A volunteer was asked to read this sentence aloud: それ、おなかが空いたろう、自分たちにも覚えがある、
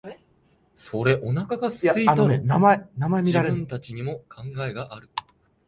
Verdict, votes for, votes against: rejected, 0, 2